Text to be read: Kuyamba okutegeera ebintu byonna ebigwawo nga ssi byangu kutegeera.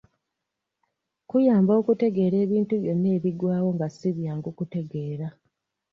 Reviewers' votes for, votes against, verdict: 2, 0, accepted